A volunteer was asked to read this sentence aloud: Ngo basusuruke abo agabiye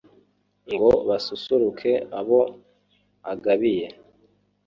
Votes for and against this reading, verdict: 3, 0, accepted